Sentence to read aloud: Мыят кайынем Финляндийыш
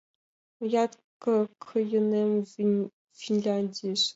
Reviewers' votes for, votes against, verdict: 0, 2, rejected